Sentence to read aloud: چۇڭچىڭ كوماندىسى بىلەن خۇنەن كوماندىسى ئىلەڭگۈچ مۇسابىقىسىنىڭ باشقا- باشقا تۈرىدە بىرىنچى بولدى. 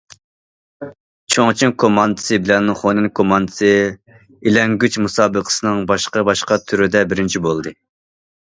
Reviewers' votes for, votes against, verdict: 2, 0, accepted